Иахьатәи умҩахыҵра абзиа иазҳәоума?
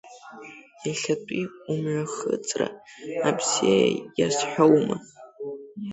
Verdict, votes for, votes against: rejected, 2, 3